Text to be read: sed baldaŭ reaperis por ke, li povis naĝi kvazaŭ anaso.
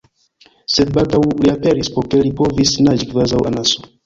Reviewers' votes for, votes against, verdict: 0, 2, rejected